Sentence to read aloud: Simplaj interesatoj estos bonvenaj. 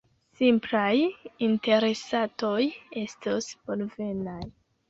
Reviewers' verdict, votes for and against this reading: rejected, 1, 2